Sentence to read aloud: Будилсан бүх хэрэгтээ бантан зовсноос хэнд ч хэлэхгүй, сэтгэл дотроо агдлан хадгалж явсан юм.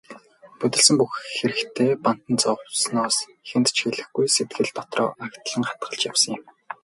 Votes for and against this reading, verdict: 4, 0, accepted